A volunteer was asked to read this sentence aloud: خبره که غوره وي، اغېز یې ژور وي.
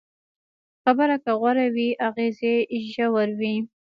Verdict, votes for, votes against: accepted, 2, 0